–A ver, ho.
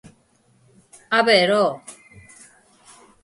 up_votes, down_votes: 4, 0